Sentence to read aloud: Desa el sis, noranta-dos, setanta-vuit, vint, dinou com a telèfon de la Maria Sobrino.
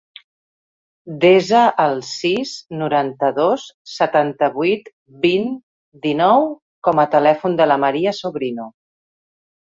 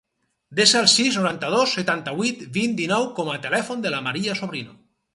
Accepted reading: first